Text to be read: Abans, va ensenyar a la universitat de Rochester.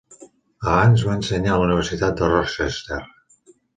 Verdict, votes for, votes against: accepted, 3, 1